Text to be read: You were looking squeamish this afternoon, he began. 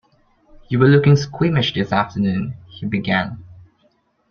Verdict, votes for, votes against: accepted, 2, 0